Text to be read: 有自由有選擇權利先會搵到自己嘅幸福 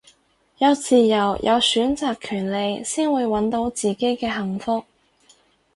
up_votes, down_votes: 4, 0